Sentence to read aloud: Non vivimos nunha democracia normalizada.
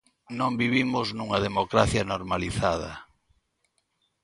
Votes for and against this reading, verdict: 2, 0, accepted